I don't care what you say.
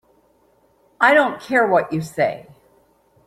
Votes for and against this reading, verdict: 2, 0, accepted